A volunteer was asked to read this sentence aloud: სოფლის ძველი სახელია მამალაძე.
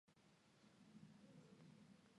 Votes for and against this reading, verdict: 2, 1, accepted